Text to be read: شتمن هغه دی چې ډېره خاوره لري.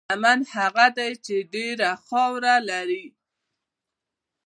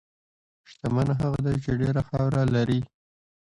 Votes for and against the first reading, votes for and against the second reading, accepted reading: 1, 2, 2, 1, second